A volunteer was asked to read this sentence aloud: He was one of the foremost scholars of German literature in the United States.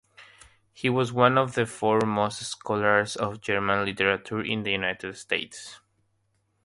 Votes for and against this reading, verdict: 3, 0, accepted